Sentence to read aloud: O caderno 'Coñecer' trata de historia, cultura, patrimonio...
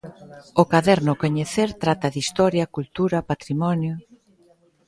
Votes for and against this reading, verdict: 2, 0, accepted